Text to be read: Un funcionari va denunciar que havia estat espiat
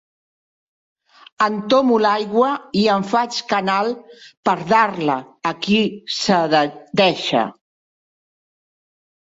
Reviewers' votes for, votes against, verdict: 0, 2, rejected